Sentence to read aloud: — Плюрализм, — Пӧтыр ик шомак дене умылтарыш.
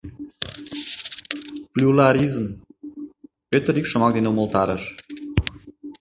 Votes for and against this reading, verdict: 1, 2, rejected